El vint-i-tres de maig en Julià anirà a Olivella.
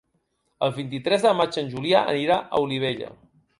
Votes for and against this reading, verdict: 3, 0, accepted